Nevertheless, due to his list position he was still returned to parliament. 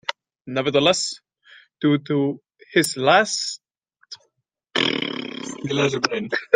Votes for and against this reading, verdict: 0, 2, rejected